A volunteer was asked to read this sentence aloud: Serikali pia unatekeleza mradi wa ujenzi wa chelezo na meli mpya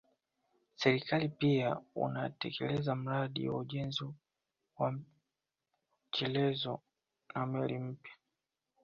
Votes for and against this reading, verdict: 2, 1, accepted